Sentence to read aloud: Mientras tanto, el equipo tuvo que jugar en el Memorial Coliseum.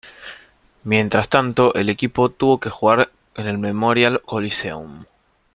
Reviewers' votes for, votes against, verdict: 2, 0, accepted